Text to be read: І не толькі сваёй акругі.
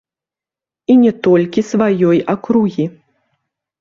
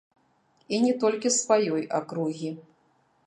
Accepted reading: first